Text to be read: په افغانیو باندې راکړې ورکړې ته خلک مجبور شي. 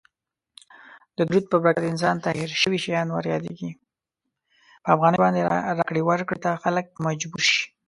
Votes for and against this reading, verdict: 0, 2, rejected